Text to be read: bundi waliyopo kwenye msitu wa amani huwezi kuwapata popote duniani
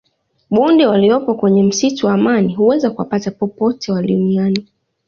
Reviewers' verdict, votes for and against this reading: rejected, 1, 2